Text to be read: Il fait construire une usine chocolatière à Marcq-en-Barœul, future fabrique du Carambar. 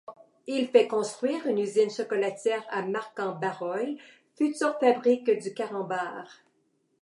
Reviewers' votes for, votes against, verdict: 1, 2, rejected